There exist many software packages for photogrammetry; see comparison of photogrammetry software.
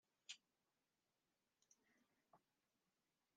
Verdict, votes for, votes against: rejected, 0, 2